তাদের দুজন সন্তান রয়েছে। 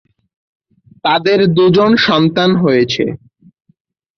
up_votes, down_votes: 0, 6